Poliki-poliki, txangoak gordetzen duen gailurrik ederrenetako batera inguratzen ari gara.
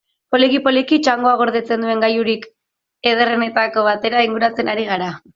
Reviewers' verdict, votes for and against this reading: accepted, 2, 1